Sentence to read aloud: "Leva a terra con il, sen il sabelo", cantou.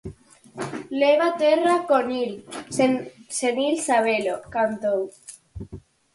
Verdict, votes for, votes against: rejected, 0, 4